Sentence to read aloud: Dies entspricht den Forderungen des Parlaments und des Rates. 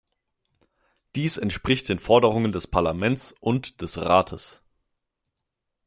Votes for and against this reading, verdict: 2, 0, accepted